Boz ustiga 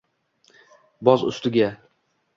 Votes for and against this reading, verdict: 2, 0, accepted